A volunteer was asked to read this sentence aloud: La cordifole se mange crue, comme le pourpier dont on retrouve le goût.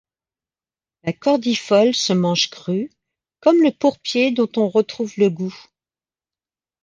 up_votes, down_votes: 2, 0